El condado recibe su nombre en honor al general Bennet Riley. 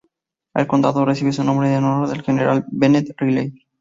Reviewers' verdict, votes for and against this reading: rejected, 0, 2